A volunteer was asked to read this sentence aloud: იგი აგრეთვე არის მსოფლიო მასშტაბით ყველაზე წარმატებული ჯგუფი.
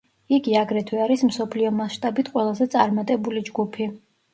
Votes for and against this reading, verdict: 2, 0, accepted